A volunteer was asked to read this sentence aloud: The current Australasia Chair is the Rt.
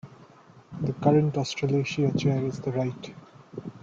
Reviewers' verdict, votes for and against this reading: rejected, 0, 2